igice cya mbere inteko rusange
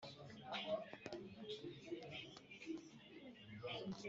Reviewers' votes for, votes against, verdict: 1, 3, rejected